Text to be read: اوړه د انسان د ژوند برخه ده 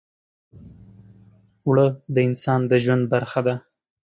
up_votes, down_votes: 3, 0